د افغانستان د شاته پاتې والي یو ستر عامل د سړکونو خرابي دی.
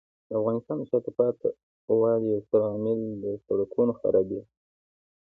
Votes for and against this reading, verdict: 2, 0, accepted